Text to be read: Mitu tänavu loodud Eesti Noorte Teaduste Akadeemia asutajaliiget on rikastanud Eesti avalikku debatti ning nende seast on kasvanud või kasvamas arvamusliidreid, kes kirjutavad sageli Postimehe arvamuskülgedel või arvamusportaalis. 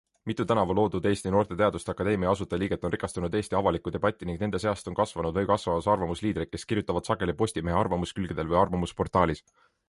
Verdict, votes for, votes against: accepted, 2, 0